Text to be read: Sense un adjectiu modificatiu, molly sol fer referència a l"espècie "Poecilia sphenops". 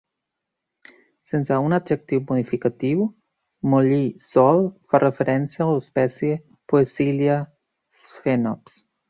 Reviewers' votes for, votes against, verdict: 2, 3, rejected